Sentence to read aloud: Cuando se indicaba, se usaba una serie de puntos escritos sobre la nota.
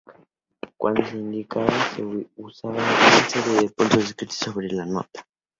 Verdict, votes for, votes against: rejected, 0, 2